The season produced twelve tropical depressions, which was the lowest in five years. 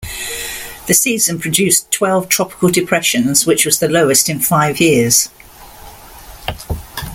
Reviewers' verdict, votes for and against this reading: accepted, 2, 0